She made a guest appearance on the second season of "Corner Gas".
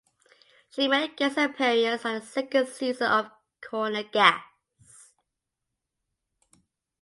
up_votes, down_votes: 2, 1